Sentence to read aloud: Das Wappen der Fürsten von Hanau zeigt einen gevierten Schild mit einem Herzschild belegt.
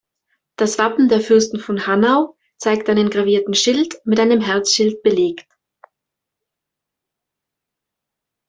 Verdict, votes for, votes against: rejected, 0, 2